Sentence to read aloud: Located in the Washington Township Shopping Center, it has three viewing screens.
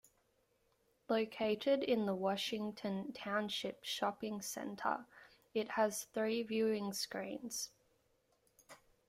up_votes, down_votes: 2, 0